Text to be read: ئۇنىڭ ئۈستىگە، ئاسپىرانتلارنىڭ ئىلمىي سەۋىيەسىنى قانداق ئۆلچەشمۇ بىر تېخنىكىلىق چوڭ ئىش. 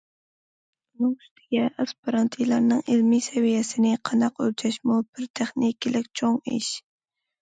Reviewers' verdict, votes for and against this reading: rejected, 1, 2